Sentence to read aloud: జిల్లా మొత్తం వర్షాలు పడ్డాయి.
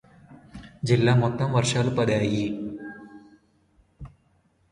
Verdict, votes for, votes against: rejected, 0, 2